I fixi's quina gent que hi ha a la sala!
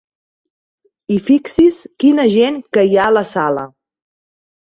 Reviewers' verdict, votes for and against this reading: accepted, 3, 0